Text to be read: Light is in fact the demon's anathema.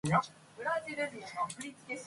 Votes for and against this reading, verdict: 0, 2, rejected